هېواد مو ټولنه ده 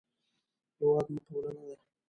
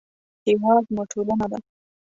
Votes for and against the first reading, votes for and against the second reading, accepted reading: 0, 2, 2, 0, second